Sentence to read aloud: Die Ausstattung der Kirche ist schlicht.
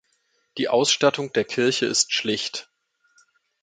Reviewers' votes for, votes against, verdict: 2, 0, accepted